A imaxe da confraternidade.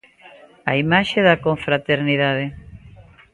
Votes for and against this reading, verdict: 3, 0, accepted